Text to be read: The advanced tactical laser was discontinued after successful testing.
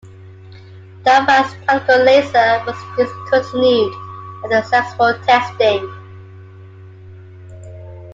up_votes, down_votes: 0, 2